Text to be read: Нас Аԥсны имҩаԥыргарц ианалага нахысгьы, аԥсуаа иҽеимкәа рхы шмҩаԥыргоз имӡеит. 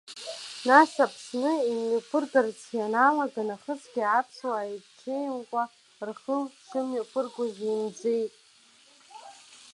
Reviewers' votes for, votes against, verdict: 2, 0, accepted